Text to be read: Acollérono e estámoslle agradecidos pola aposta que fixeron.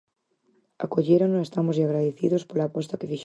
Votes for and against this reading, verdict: 0, 4, rejected